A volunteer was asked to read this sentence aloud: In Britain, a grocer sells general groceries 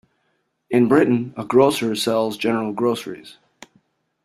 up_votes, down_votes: 2, 0